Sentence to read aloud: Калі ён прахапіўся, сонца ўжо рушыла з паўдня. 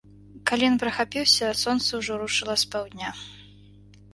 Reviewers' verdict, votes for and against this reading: accepted, 2, 0